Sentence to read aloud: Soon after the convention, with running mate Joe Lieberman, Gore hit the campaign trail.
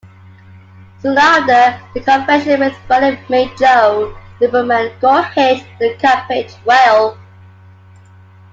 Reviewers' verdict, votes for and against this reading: rejected, 1, 2